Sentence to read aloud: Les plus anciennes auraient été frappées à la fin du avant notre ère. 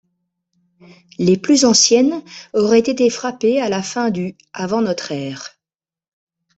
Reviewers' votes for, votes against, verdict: 2, 0, accepted